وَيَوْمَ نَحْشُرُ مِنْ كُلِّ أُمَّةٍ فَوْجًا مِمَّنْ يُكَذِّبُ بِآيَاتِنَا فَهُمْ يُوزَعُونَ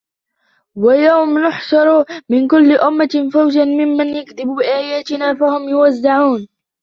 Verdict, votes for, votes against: rejected, 0, 2